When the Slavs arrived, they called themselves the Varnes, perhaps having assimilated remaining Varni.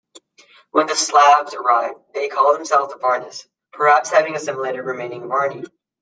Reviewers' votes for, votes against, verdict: 2, 0, accepted